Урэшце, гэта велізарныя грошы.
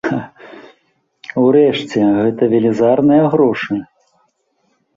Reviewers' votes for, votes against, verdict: 1, 2, rejected